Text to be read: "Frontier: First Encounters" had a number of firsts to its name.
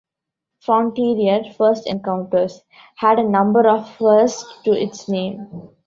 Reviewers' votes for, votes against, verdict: 1, 2, rejected